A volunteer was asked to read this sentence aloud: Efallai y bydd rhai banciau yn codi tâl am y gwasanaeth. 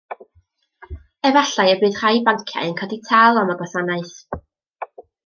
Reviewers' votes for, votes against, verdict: 2, 0, accepted